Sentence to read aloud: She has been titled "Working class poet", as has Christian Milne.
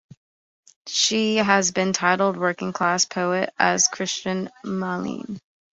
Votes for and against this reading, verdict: 0, 2, rejected